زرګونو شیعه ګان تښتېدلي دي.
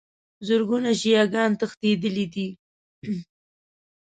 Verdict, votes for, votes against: accepted, 2, 0